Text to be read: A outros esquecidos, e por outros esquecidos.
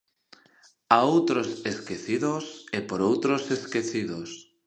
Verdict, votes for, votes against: accepted, 2, 0